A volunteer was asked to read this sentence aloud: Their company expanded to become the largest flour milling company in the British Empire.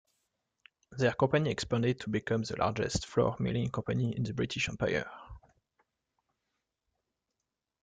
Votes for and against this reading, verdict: 2, 0, accepted